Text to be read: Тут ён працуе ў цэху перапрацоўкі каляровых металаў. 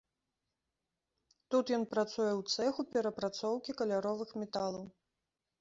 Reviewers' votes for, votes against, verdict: 2, 0, accepted